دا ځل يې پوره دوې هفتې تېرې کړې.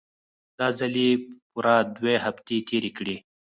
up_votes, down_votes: 2, 4